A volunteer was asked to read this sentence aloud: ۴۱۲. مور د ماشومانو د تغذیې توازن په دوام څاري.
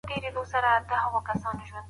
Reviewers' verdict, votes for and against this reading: rejected, 0, 2